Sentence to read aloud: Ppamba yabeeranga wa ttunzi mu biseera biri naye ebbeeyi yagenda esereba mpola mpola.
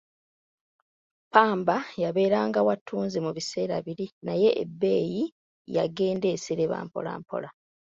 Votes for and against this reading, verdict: 2, 1, accepted